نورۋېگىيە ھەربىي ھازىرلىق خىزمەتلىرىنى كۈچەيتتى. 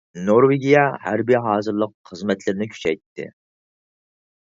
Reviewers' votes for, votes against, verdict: 4, 0, accepted